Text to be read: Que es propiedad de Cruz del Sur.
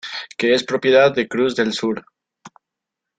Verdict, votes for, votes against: accepted, 2, 0